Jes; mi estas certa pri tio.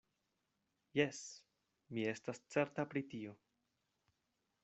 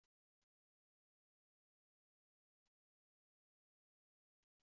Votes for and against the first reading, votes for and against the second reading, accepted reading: 2, 0, 0, 2, first